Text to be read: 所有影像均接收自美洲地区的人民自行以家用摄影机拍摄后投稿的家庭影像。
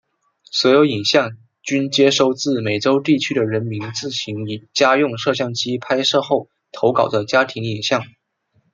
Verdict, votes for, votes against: accepted, 2, 0